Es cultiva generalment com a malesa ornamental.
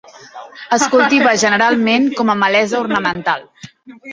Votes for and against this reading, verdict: 0, 2, rejected